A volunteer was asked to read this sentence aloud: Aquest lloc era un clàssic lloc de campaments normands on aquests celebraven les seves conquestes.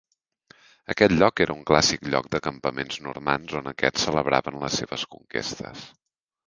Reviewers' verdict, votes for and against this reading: accepted, 2, 0